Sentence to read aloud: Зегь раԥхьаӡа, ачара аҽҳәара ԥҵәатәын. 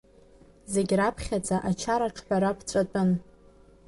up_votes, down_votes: 2, 0